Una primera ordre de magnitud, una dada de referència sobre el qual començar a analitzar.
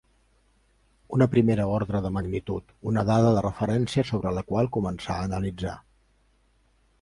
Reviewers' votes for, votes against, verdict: 3, 2, accepted